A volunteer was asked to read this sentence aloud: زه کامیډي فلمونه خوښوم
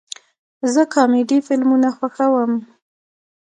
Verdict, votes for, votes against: rejected, 1, 2